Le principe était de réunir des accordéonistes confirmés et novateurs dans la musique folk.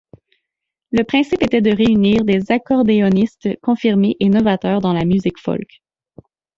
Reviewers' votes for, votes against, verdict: 2, 0, accepted